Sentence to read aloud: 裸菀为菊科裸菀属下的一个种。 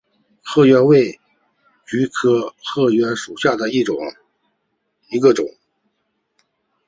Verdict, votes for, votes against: accepted, 4, 1